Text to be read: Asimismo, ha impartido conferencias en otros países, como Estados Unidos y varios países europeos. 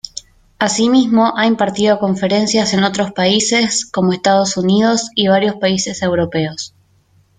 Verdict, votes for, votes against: accepted, 2, 0